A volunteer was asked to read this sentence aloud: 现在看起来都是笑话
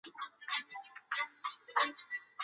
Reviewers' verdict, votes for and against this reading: rejected, 1, 4